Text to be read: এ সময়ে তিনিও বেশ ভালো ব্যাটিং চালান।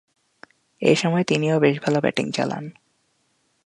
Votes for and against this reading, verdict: 2, 0, accepted